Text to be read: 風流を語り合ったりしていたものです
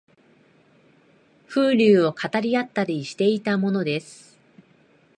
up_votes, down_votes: 2, 0